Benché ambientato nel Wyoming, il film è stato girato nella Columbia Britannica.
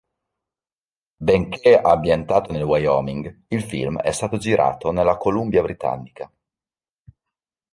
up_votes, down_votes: 2, 0